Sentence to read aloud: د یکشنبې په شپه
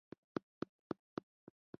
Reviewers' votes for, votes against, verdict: 2, 1, accepted